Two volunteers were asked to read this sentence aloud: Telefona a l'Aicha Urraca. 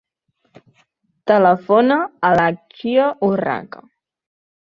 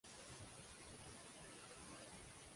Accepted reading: first